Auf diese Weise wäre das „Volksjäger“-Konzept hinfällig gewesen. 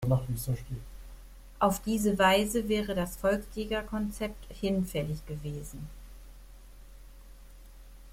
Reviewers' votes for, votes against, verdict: 1, 2, rejected